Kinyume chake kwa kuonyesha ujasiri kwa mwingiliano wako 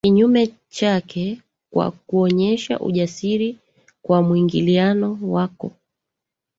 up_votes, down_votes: 1, 2